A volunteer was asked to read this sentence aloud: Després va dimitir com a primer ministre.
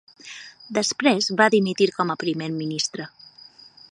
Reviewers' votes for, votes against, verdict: 9, 0, accepted